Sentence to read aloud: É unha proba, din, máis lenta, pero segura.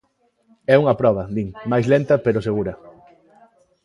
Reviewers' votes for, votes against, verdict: 2, 0, accepted